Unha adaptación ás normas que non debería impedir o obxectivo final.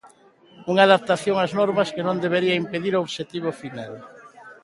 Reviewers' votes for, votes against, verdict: 0, 2, rejected